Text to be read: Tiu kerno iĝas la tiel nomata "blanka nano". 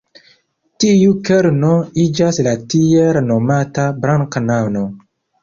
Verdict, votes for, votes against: accepted, 2, 1